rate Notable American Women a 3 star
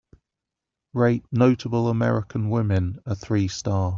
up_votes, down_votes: 0, 2